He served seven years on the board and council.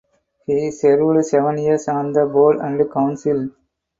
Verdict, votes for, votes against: rejected, 0, 2